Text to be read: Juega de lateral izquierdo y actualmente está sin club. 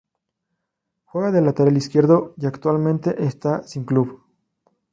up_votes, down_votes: 0, 2